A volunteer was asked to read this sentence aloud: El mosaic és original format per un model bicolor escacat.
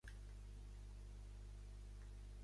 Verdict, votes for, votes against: rejected, 0, 2